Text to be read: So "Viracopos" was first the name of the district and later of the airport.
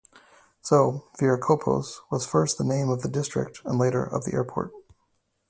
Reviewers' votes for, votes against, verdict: 2, 0, accepted